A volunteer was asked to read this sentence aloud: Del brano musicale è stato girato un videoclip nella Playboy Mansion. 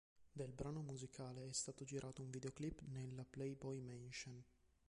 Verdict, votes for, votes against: rejected, 1, 2